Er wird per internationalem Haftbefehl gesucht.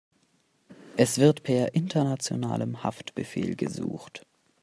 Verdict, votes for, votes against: rejected, 0, 2